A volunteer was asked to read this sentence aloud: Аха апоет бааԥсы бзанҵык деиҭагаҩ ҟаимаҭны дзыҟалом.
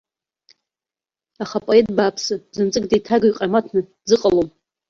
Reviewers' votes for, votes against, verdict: 1, 2, rejected